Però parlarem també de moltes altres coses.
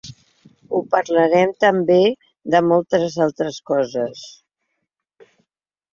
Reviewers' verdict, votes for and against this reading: rejected, 0, 2